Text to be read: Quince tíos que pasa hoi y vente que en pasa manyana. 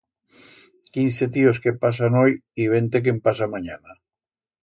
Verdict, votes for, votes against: rejected, 1, 2